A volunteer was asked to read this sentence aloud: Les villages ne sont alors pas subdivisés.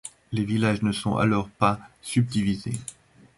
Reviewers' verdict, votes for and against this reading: accepted, 2, 0